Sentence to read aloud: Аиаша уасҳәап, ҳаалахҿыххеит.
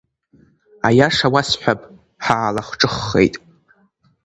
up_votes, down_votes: 3, 0